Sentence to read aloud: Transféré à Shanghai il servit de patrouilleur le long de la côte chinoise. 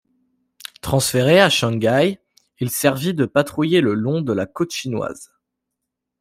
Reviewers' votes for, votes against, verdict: 1, 2, rejected